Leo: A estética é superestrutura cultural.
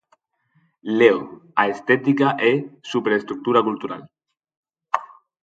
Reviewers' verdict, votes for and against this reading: accepted, 4, 2